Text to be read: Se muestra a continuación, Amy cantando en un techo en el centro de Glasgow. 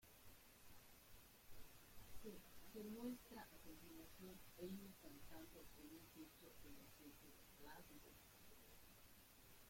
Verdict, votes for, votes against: rejected, 0, 2